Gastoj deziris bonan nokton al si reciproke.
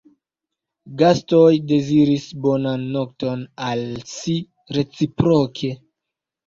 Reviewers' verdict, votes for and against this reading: accepted, 3, 2